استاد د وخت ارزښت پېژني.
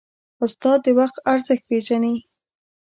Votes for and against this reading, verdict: 2, 0, accepted